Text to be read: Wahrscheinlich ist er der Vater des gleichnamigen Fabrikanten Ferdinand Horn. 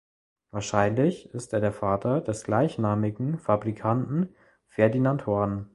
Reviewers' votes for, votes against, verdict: 2, 0, accepted